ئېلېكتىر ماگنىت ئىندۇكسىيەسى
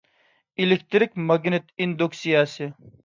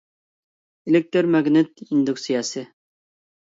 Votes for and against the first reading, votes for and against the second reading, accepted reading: 1, 2, 2, 0, second